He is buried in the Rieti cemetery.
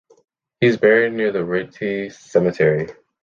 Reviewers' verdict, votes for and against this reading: rejected, 1, 2